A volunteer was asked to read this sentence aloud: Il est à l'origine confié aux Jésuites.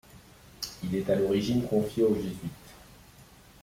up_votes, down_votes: 2, 0